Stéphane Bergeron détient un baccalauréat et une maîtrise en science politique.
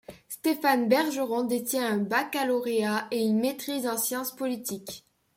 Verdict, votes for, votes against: accepted, 2, 0